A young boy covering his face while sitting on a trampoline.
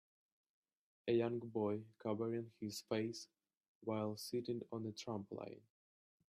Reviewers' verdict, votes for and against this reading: rejected, 2, 3